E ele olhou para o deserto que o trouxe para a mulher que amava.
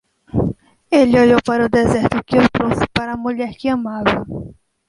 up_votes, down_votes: 0, 2